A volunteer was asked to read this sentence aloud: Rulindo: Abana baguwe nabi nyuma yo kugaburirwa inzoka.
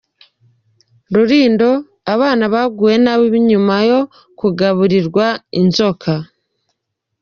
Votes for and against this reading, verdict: 2, 1, accepted